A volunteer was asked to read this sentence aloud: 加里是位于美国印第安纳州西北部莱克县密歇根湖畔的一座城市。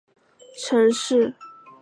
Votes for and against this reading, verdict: 3, 6, rejected